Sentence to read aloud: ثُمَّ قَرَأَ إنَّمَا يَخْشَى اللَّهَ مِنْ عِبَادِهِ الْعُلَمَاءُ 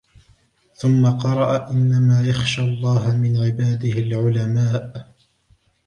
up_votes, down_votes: 2, 1